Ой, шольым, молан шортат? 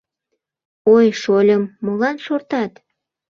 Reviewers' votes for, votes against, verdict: 2, 0, accepted